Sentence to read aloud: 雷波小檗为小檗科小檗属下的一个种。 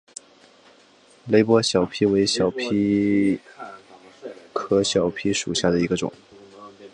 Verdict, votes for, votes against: accepted, 2, 0